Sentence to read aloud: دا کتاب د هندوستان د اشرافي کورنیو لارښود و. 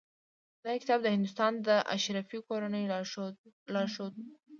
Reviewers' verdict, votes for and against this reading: rejected, 1, 2